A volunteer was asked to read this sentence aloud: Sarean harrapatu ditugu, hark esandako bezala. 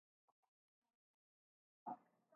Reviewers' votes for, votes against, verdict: 0, 3, rejected